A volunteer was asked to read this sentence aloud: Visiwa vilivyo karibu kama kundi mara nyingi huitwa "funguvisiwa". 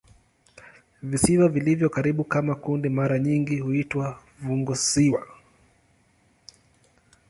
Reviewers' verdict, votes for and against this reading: accepted, 2, 0